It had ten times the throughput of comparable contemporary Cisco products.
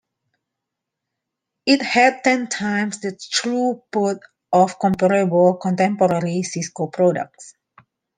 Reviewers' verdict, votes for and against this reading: rejected, 1, 2